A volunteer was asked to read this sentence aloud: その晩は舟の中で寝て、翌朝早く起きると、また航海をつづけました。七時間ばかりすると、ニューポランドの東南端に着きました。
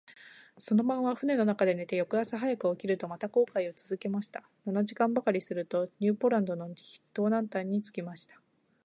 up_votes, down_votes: 2, 0